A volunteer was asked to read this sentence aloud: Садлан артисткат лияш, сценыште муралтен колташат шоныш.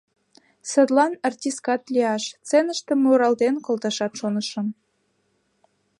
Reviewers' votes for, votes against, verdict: 2, 0, accepted